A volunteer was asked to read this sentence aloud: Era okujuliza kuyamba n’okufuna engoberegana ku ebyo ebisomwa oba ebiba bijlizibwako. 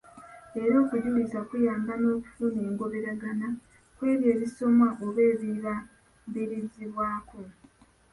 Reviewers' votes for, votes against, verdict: 1, 3, rejected